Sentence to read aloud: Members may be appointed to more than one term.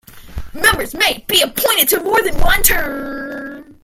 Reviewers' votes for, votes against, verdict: 0, 2, rejected